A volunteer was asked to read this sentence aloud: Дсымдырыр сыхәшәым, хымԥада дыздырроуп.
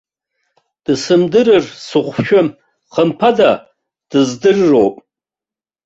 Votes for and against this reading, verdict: 1, 2, rejected